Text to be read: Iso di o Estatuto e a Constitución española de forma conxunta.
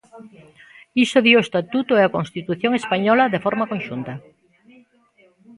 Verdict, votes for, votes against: rejected, 0, 2